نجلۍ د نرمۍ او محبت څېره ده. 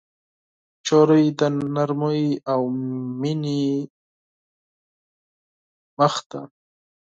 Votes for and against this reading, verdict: 0, 4, rejected